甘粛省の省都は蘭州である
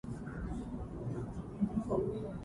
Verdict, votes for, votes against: rejected, 0, 2